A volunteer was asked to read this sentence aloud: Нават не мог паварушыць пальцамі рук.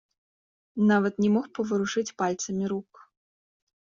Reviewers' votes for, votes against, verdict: 2, 0, accepted